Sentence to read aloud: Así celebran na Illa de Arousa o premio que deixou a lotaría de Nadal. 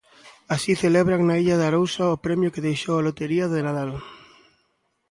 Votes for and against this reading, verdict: 1, 2, rejected